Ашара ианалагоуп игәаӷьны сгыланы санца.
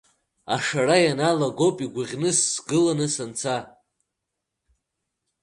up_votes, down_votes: 2, 0